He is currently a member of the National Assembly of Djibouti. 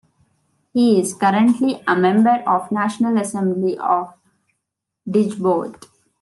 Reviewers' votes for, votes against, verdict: 0, 2, rejected